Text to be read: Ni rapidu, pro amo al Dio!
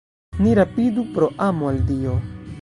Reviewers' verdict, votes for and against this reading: rejected, 1, 2